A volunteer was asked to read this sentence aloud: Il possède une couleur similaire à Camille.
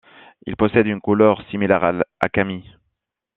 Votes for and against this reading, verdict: 1, 2, rejected